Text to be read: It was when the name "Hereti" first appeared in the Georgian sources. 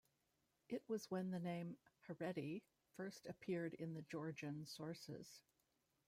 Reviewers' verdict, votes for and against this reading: rejected, 1, 2